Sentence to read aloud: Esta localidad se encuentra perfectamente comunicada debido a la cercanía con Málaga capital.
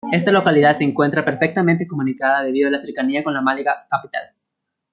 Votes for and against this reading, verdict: 1, 2, rejected